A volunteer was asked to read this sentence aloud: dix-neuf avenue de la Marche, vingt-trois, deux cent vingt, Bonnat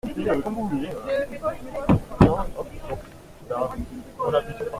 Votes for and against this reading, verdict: 0, 2, rejected